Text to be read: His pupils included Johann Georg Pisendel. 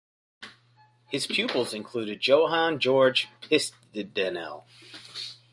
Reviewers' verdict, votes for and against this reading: rejected, 0, 2